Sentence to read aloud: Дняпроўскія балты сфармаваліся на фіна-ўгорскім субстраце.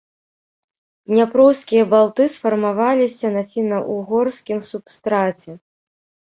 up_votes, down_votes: 0, 2